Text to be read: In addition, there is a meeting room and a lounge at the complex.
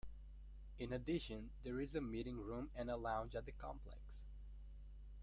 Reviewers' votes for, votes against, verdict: 2, 1, accepted